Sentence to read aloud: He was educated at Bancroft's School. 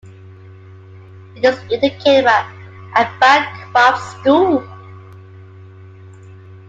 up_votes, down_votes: 0, 2